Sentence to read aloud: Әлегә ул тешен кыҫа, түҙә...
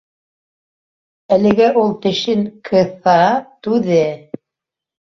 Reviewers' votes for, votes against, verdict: 0, 2, rejected